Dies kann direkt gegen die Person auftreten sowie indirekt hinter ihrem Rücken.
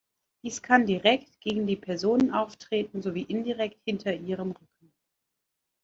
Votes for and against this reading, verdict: 0, 2, rejected